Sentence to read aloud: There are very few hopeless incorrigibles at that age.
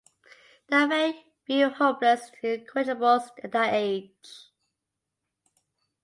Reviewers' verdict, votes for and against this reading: rejected, 0, 2